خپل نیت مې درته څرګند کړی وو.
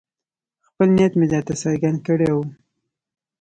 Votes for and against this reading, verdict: 2, 0, accepted